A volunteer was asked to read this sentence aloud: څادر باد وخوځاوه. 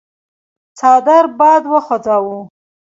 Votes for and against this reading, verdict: 2, 0, accepted